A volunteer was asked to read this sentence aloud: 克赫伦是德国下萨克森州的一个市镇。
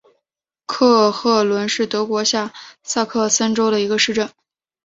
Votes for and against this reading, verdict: 4, 0, accepted